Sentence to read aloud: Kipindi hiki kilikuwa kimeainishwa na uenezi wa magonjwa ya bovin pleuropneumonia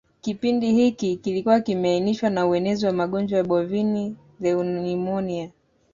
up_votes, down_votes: 0, 2